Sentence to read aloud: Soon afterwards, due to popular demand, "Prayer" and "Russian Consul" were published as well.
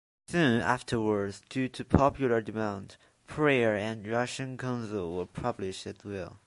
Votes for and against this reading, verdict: 1, 2, rejected